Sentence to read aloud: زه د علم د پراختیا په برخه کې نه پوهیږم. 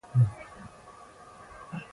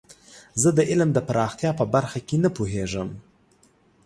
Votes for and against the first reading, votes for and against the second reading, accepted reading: 0, 2, 2, 0, second